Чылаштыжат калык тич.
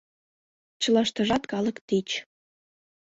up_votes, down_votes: 2, 0